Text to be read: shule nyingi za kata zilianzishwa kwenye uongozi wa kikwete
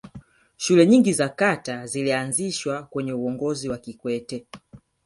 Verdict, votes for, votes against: accepted, 4, 1